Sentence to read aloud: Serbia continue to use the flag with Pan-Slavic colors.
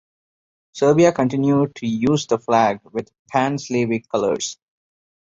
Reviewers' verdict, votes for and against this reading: accepted, 2, 1